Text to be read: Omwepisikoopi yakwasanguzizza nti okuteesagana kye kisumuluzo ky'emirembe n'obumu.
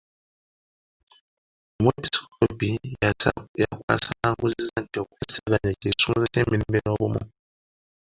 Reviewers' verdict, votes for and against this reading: rejected, 0, 2